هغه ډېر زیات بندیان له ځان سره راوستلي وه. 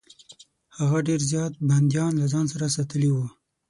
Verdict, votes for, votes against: accepted, 6, 3